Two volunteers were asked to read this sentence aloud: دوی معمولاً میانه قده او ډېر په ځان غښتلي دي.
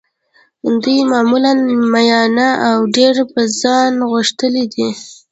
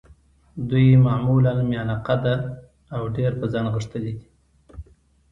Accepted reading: second